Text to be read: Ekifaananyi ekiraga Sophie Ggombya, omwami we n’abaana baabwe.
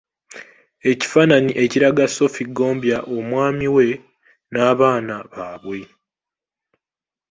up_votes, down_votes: 3, 1